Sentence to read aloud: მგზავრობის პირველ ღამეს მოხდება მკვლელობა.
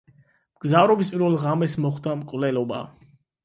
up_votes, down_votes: 8, 4